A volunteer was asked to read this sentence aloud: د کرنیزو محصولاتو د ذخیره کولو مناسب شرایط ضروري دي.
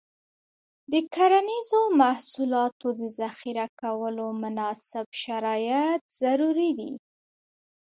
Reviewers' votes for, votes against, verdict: 3, 4, rejected